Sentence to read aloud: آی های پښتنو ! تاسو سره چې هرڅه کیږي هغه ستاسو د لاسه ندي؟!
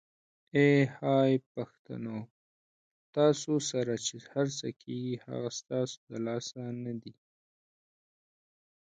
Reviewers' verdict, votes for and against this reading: rejected, 0, 4